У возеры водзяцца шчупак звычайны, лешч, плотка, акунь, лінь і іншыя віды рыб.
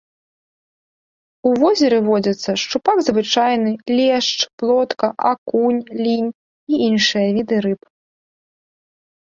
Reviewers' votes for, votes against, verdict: 2, 0, accepted